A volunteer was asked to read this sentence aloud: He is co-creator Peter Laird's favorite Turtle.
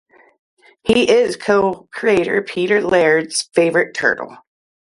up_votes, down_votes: 0, 3